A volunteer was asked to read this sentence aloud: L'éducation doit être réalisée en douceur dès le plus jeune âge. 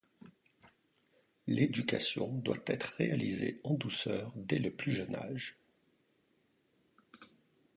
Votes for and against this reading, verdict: 2, 0, accepted